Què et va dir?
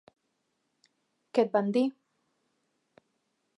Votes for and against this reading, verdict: 0, 2, rejected